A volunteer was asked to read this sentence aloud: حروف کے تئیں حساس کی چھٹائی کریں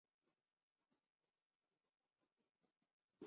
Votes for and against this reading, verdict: 1, 5, rejected